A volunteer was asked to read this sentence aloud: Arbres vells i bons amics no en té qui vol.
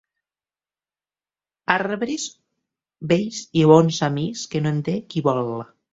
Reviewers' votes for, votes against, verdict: 1, 2, rejected